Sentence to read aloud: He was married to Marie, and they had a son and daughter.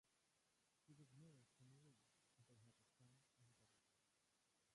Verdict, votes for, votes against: rejected, 0, 2